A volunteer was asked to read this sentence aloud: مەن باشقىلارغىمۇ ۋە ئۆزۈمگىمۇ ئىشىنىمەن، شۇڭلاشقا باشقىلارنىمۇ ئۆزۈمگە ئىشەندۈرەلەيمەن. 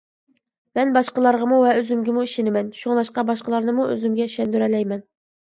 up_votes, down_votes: 2, 0